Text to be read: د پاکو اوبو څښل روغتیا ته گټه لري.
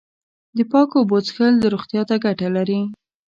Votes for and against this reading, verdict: 1, 2, rejected